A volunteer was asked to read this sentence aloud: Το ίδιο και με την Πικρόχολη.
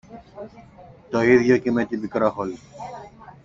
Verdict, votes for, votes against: accepted, 2, 0